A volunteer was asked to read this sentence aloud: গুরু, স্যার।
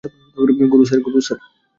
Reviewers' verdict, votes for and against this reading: rejected, 1, 2